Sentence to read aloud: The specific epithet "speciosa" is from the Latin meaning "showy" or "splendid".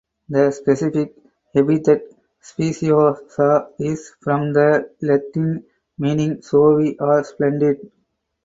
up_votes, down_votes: 4, 0